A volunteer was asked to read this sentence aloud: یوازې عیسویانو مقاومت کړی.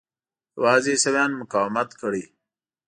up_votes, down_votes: 2, 0